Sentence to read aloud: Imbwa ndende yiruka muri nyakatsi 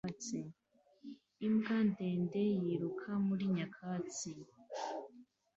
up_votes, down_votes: 2, 0